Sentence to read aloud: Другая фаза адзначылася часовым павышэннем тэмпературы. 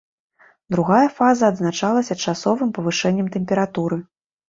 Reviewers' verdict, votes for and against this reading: rejected, 0, 2